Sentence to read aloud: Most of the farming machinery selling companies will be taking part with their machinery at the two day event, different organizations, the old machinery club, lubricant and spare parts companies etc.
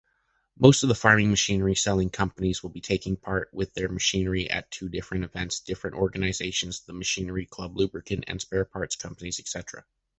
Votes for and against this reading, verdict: 0, 2, rejected